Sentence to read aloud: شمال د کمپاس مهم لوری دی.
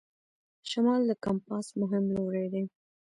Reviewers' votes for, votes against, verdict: 2, 1, accepted